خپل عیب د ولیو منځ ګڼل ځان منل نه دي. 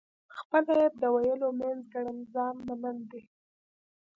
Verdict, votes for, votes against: rejected, 1, 2